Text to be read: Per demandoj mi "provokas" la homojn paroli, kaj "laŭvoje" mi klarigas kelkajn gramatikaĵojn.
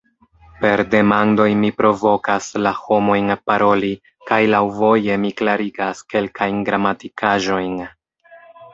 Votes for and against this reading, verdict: 2, 0, accepted